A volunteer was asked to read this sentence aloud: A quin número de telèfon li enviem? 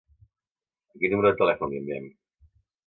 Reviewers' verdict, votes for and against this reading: accepted, 2, 0